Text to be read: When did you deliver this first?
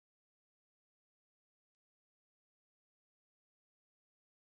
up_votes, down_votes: 0, 2